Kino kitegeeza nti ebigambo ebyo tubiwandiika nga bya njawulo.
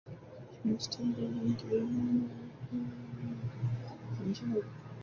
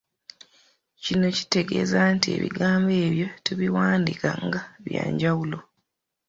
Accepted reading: second